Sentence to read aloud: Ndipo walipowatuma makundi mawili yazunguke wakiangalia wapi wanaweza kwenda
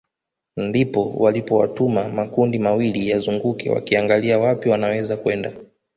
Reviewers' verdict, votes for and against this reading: accepted, 2, 1